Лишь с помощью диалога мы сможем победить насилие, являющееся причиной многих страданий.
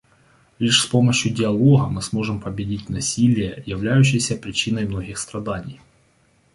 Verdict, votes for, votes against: accepted, 2, 1